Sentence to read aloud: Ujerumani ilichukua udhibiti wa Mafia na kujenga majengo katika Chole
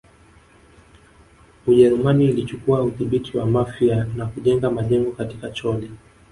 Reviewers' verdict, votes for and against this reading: accepted, 2, 0